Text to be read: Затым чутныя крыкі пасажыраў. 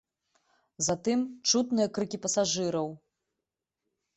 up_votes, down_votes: 3, 0